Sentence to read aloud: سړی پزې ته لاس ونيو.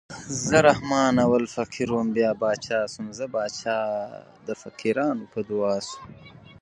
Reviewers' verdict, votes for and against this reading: rejected, 1, 2